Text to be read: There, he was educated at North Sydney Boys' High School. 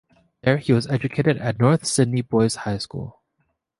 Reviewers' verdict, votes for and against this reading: accepted, 2, 0